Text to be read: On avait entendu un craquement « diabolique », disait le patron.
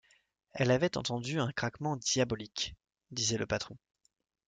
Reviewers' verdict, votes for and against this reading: rejected, 0, 2